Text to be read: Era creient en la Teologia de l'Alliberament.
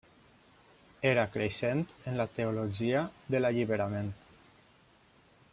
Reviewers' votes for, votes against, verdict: 1, 2, rejected